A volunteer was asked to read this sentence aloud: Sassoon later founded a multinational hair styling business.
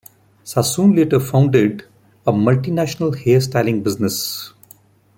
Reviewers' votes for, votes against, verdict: 2, 0, accepted